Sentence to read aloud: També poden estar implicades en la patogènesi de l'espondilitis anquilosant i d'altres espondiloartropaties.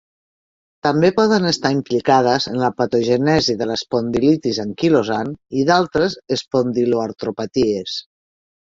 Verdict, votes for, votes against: rejected, 0, 3